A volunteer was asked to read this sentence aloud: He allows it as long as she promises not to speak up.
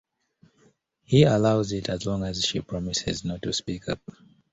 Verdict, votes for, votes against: accepted, 2, 0